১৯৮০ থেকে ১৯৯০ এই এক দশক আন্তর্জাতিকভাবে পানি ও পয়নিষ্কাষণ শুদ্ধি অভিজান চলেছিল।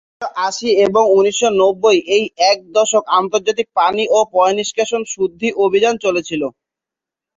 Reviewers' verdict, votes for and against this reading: rejected, 0, 2